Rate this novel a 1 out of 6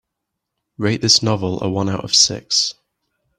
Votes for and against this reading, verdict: 0, 2, rejected